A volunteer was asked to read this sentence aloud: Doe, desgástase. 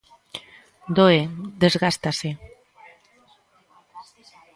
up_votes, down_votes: 1, 2